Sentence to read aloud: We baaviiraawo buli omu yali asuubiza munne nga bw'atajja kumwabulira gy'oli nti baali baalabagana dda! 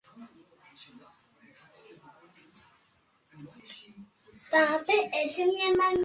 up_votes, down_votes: 0, 3